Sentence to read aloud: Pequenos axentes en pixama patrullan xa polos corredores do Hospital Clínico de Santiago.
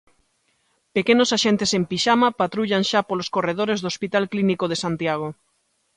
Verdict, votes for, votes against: accepted, 2, 0